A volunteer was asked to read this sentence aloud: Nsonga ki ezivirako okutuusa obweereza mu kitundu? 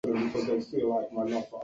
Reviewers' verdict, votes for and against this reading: rejected, 0, 2